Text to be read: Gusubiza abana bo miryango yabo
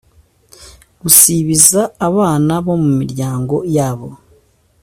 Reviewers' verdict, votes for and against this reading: rejected, 1, 2